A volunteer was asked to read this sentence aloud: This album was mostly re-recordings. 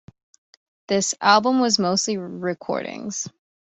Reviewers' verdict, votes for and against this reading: rejected, 1, 3